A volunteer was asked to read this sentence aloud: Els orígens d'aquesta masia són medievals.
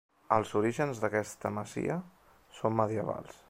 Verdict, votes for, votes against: rejected, 1, 2